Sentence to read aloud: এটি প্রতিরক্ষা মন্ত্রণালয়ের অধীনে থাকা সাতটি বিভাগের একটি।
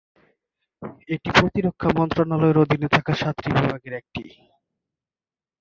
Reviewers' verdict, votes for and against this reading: accepted, 3, 2